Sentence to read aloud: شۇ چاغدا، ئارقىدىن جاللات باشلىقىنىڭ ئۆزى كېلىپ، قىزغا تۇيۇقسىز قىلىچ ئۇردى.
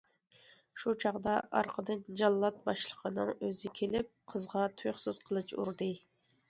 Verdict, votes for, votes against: accepted, 2, 0